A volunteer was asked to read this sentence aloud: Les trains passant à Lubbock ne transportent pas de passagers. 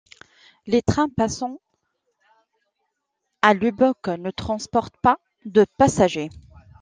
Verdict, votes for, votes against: accepted, 2, 1